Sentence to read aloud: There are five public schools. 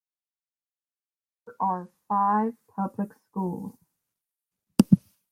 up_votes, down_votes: 1, 2